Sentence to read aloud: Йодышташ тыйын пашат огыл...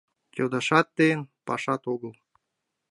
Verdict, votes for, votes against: rejected, 1, 2